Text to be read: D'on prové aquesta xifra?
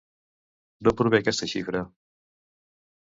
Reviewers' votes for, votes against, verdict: 2, 0, accepted